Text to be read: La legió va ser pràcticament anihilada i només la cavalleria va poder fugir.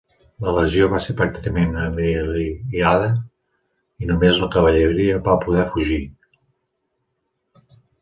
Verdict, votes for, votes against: rejected, 0, 2